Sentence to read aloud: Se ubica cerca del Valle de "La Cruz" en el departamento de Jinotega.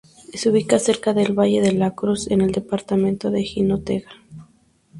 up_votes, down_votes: 2, 0